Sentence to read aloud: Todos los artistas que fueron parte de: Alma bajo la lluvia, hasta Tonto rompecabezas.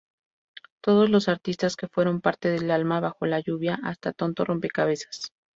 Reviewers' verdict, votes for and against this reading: accepted, 2, 0